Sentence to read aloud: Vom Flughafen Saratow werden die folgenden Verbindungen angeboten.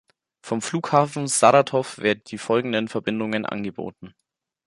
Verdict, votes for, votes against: rejected, 1, 2